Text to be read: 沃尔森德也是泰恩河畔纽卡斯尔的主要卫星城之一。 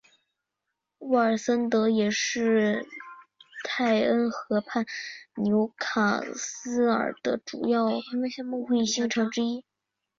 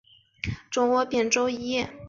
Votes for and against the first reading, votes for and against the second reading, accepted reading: 3, 2, 1, 2, first